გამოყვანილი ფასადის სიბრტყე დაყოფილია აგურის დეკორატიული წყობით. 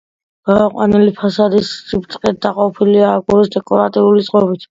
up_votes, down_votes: 2, 0